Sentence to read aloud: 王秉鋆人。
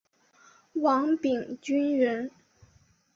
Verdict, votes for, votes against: accepted, 4, 0